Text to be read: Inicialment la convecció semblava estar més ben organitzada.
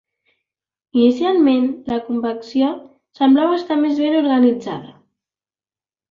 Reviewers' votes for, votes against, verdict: 2, 0, accepted